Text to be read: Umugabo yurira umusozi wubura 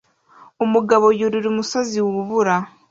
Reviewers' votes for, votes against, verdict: 2, 0, accepted